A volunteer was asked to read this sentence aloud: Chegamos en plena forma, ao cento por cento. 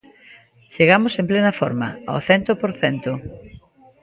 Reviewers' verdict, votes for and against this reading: accepted, 2, 0